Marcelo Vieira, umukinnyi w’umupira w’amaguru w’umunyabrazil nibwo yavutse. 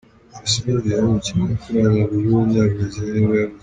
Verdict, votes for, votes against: rejected, 0, 2